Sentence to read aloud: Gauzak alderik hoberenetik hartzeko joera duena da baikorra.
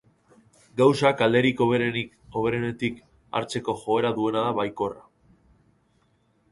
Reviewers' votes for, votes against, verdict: 0, 3, rejected